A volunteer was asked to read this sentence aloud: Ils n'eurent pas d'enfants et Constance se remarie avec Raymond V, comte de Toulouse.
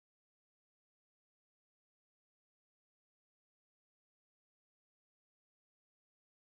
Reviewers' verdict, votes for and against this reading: rejected, 0, 4